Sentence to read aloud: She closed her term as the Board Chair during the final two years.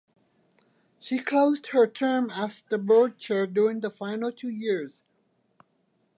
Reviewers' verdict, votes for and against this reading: accepted, 2, 0